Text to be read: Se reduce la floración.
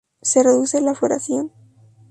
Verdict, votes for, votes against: rejected, 0, 2